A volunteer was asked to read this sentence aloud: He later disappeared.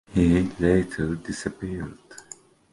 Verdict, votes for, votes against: accepted, 2, 1